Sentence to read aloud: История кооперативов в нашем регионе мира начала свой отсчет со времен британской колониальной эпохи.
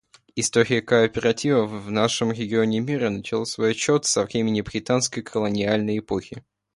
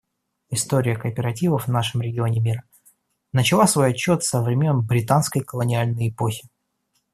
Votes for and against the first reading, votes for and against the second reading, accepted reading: 1, 2, 2, 0, second